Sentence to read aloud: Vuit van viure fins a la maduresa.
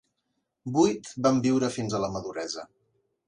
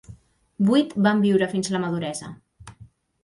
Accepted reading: first